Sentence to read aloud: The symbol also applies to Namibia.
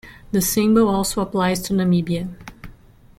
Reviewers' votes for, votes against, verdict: 2, 0, accepted